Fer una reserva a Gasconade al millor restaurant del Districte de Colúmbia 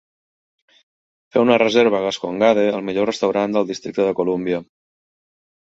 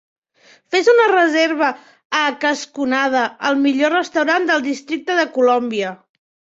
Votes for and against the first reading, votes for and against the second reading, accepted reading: 2, 1, 0, 2, first